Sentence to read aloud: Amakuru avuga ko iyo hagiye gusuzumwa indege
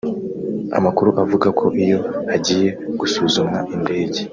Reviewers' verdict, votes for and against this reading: rejected, 1, 2